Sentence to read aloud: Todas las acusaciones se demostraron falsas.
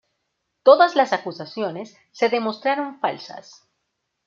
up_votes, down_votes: 2, 0